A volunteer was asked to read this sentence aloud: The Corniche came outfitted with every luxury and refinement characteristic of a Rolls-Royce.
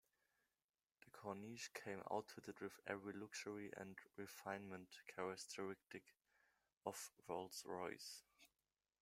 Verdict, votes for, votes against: rejected, 0, 2